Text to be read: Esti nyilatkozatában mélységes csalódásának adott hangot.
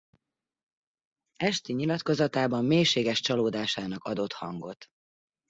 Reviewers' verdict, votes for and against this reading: accepted, 2, 0